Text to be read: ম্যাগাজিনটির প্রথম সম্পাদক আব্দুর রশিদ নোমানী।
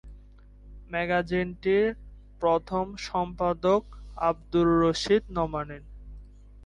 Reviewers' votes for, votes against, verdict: 0, 2, rejected